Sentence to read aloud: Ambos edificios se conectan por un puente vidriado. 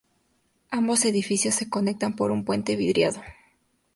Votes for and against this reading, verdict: 2, 0, accepted